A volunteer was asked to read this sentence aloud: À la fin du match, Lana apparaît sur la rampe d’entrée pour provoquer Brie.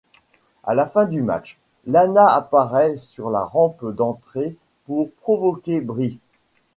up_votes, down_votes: 0, 2